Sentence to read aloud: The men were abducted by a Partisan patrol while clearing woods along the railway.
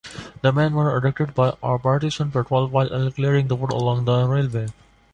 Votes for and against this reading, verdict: 1, 2, rejected